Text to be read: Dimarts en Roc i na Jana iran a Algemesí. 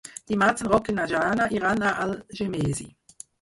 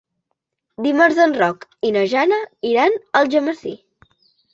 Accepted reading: second